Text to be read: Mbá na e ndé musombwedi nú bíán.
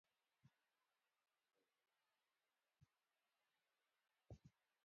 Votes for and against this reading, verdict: 1, 2, rejected